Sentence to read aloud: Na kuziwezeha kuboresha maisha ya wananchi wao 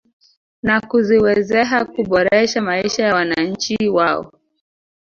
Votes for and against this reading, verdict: 2, 3, rejected